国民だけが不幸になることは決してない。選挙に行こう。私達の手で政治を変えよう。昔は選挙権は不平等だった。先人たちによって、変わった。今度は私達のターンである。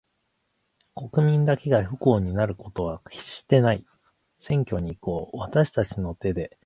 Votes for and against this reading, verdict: 0, 2, rejected